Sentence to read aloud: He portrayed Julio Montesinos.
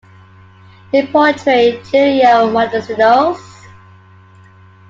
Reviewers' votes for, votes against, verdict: 2, 1, accepted